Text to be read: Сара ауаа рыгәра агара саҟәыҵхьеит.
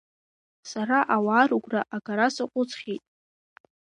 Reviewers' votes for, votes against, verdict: 2, 0, accepted